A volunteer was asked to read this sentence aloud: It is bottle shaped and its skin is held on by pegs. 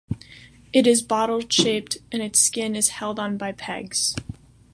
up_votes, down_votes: 2, 0